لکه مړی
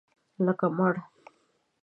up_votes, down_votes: 0, 2